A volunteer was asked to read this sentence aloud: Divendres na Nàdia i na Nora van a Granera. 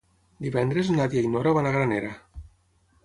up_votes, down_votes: 3, 6